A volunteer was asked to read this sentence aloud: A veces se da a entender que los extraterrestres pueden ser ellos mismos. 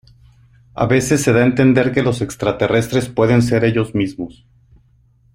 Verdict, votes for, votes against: accepted, 3, 0